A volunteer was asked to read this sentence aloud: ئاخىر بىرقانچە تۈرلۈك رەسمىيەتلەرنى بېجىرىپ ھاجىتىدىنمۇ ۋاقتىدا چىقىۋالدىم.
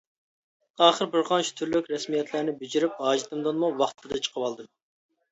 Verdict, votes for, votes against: rejected, 1, 2